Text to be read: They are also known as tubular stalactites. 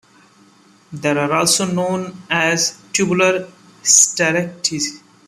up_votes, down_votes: 0, 2